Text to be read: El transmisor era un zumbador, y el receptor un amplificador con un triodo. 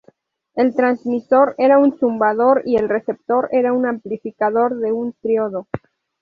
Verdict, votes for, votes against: rejected, 0, 2